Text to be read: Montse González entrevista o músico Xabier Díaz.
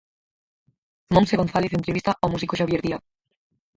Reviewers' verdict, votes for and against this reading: rejected, 0, 4